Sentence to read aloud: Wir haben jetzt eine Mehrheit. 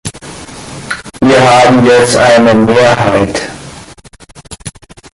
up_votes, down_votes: 2, 0